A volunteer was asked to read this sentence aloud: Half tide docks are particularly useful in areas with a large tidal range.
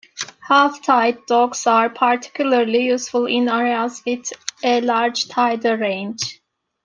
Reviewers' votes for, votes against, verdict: 2, 1, accepted